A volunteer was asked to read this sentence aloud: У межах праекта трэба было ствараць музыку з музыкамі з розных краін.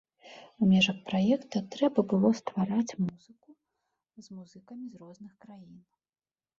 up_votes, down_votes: 0, 2